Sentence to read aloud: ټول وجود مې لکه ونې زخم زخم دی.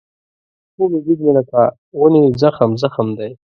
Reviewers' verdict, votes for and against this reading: rejected, 1, 2